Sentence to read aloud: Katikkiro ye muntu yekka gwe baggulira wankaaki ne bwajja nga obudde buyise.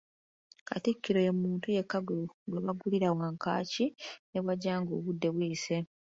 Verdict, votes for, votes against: rejected, 1, 2